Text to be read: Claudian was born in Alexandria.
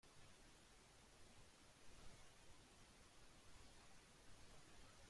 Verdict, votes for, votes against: rejected, 0, 2